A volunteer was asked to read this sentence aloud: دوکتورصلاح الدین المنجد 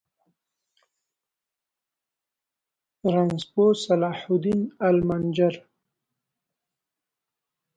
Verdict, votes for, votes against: rejected, 1, 2